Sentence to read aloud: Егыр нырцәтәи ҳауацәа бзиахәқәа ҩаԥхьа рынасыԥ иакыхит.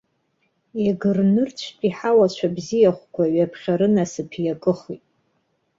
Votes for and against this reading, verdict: 1, 2, rejected